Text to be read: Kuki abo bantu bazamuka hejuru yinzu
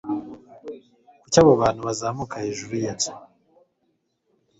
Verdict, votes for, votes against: accepted, 4, 0